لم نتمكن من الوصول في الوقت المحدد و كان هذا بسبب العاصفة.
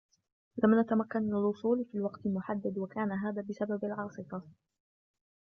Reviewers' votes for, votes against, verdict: 1, 2, rejected